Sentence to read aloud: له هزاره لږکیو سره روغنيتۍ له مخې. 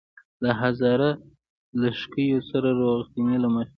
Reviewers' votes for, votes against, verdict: 1, 2, rejected